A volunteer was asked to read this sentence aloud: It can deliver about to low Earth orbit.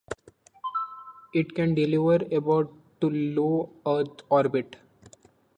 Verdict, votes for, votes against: accepted, 2, 0